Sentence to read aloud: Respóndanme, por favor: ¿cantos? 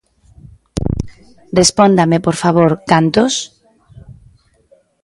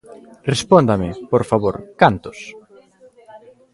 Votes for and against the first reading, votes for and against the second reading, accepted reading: 2, 1, 1, 2, first